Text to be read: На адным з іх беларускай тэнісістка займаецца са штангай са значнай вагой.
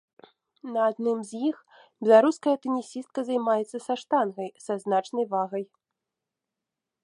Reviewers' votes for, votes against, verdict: 1, 2, rejected